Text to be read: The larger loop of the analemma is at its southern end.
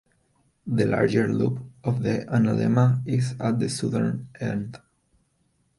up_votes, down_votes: 0, 2